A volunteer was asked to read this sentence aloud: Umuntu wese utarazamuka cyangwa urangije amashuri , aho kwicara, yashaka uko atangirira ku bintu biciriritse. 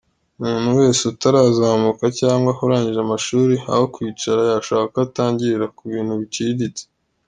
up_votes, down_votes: 2, 0